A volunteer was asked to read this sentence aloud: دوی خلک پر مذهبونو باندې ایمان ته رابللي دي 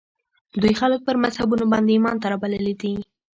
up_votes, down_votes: 1, 2